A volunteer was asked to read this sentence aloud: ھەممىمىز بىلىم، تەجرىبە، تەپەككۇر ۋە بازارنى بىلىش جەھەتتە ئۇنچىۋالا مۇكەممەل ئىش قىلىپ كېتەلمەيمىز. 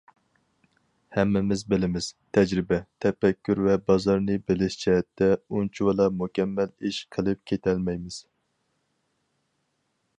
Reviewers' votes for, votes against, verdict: 0, 2, rejected